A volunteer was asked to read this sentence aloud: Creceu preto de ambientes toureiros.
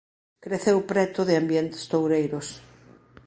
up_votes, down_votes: 2, 0